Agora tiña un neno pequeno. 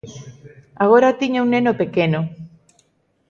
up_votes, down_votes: 2, 0